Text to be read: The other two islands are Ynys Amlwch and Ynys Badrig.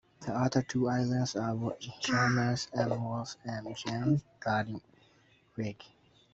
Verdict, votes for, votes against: rejected, 0, 2